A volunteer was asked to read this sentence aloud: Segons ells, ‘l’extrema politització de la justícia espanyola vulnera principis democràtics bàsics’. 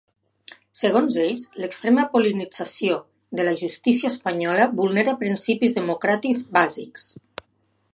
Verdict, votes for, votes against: rejected, 1, 2